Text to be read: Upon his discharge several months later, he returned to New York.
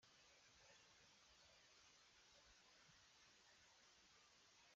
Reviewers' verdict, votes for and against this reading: rejected, 0, 3